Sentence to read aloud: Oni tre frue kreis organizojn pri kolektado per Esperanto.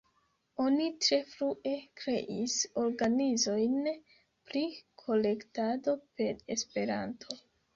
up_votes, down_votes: 1, 2